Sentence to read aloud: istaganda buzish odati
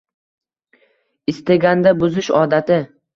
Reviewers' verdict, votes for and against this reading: rejected, 1, 2